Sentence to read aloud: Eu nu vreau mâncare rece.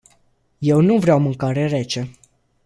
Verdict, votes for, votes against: accepted, 2, 0